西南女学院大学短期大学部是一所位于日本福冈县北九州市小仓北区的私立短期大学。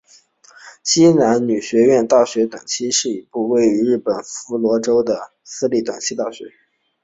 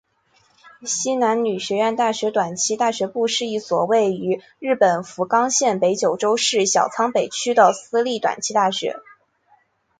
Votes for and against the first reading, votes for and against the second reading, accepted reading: 2, 3, 3, 0, second